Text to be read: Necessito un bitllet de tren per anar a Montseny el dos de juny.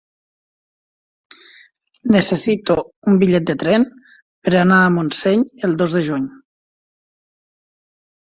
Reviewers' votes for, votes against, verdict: 4, 1, accepted